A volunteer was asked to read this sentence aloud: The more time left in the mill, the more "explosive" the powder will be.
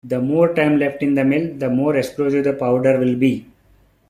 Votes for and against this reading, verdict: 2, 1, accepted